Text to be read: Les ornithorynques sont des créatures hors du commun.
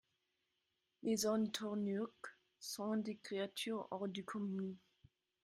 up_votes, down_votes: 0, 2